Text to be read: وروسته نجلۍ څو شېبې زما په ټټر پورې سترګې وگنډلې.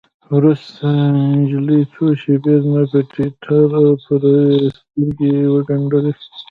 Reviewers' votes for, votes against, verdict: 0, 2, rejected